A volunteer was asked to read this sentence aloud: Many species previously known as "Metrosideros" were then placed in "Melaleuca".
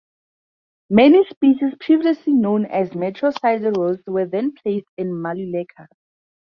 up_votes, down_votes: 0, 2